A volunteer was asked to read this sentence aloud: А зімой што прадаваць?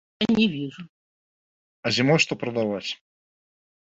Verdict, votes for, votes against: rejected, 0, 2